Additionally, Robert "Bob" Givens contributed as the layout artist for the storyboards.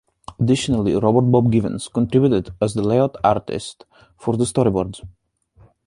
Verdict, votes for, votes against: accepted, 2, 0